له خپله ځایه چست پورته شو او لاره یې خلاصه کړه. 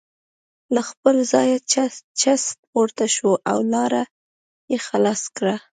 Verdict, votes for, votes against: rejected, 1, 2